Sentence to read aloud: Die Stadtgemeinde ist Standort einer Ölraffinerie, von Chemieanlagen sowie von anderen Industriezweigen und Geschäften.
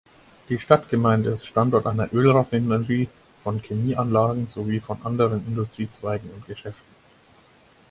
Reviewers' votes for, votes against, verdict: 0, 4, rejected